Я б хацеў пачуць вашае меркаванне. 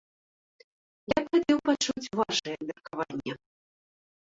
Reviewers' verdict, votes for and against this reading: rejected, 0, 2